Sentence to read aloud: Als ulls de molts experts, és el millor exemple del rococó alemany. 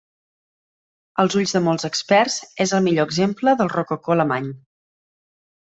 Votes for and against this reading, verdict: 2, 0, accepted